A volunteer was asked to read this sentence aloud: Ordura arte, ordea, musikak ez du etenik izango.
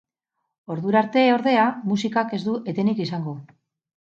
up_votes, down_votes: 2, 0